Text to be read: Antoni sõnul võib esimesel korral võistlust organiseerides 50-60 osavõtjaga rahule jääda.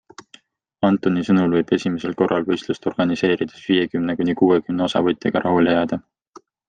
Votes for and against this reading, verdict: 0, 2, rejected